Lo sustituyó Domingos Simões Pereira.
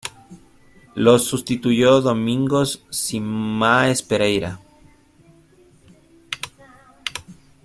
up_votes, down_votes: 1, 2